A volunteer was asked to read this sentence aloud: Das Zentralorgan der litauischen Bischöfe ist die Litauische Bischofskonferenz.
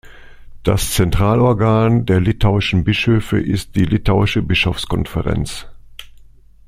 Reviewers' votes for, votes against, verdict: 2, 0, accepted